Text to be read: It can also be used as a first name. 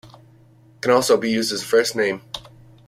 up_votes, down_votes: 2, 0